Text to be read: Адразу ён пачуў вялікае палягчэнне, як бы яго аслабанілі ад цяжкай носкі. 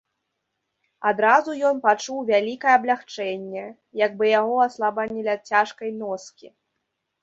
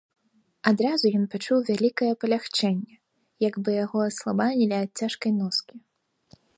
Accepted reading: second